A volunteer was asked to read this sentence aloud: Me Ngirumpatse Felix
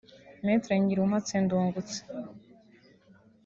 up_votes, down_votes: 0, 2